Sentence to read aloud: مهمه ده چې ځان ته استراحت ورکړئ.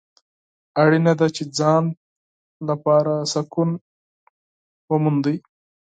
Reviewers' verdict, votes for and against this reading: rejected, 0, 4